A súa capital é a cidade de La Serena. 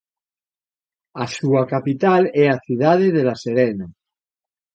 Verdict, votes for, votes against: accepted, 2, 0